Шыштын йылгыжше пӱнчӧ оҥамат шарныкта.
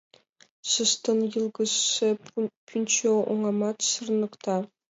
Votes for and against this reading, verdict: 0, 2, rejected